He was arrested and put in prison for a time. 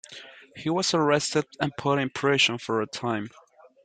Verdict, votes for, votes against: rejected, 1, 2